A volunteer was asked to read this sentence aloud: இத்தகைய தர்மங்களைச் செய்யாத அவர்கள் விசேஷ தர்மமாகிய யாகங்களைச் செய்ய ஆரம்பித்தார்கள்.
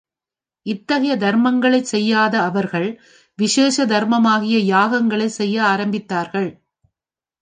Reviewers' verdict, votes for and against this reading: accepted, 3, 0